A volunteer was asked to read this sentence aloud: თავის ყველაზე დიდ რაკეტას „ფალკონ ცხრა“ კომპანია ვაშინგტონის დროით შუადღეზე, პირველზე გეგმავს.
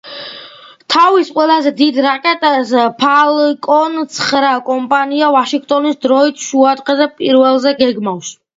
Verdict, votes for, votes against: accepted, 2, 1